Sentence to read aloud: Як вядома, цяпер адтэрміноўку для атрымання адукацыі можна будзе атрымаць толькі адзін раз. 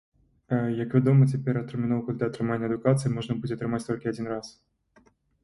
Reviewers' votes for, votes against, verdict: 1, 2, rejected